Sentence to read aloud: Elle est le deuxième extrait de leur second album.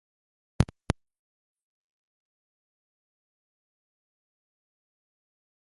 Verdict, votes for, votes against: rejected, 0, 2